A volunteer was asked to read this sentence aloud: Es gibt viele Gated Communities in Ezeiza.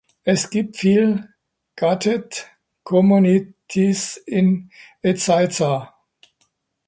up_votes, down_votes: 0, 2